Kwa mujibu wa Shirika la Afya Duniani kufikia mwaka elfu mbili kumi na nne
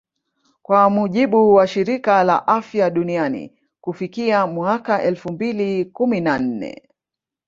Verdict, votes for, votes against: rejected, 0, 2